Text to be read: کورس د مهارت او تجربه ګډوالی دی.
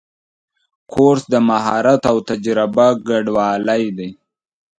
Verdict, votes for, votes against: accepted, 2, 1